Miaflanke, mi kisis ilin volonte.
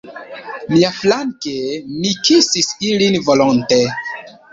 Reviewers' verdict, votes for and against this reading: accepted, 2, 0